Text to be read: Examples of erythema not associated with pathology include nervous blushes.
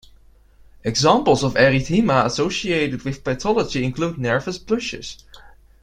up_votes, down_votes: 1, 2